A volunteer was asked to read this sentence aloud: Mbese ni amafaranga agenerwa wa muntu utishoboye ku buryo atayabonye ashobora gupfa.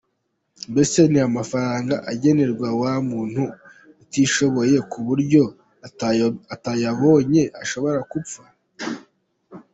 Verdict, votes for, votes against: rejected, 1, 2